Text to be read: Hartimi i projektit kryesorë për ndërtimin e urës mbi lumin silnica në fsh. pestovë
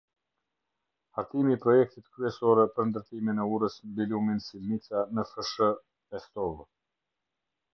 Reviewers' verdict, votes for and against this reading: accepted, 2, 1